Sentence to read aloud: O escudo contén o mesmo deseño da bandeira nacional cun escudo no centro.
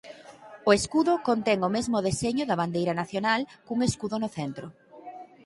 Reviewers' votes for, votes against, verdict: 3, 6, rejected